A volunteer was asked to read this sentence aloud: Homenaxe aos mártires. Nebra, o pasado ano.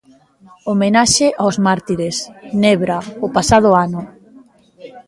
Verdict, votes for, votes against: rejected, 0, 2